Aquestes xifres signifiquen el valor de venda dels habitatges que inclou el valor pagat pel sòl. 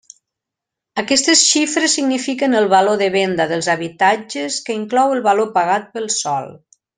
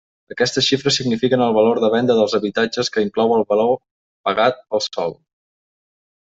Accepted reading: first